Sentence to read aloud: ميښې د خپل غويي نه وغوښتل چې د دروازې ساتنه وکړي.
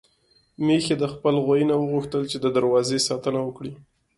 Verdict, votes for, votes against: accepted, 2, 0